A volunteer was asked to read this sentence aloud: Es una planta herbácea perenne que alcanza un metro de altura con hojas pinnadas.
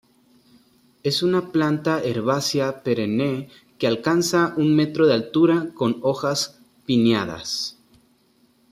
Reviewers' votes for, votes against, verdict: 0, 2, rejected